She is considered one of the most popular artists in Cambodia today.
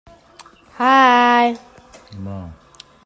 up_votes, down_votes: 0, 2